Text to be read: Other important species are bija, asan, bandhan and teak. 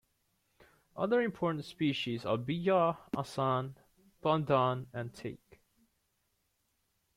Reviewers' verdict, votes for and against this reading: accepted, 2, 0